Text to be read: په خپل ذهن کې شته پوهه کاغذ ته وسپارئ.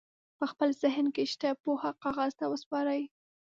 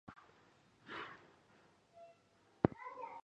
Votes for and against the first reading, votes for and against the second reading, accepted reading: 7, 0, 0, 2, first